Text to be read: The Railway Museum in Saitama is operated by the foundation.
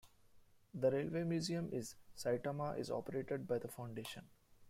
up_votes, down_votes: 0, 2